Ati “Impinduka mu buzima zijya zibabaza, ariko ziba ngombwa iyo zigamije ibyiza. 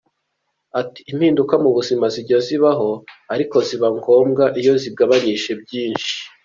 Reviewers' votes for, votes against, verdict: 1, 2, rejected